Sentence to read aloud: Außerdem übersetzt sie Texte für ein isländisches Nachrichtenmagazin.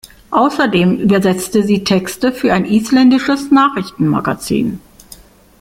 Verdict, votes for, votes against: rejected, 0, 2